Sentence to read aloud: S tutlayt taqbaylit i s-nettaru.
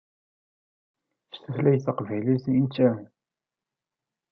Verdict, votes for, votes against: rejected, 0, 2